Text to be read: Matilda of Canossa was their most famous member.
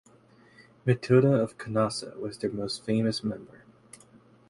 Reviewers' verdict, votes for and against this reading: accepted, 2, 0